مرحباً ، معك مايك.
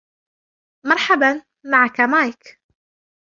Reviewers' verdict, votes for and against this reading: accepted, 2, 0